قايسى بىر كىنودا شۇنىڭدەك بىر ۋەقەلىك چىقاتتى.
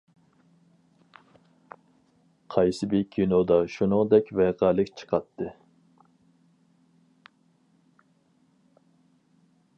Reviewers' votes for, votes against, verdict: 0, 4, rejected